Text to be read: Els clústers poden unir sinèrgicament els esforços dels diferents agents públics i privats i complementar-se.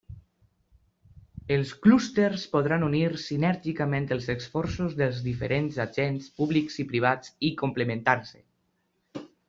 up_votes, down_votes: 0, 2